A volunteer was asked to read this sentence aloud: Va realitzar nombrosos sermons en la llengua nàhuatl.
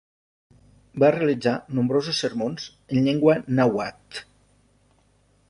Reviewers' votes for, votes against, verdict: 0, 2, rejected